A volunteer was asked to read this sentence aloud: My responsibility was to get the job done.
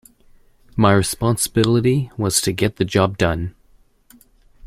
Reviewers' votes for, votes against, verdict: 2, 0, accepted